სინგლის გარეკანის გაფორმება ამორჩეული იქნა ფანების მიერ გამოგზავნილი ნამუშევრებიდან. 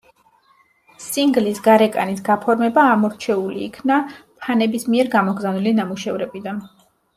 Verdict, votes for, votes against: accepted, 2, 0